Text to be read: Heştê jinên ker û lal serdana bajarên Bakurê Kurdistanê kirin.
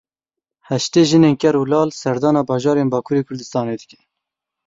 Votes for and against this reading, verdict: 0, 2, rejected